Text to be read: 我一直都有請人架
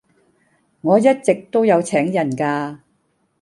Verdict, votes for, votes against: accepted, 2, 0